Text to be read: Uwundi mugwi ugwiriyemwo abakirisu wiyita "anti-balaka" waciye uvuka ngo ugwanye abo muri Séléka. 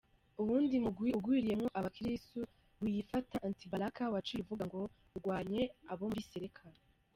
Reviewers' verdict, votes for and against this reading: accepted, 2, 0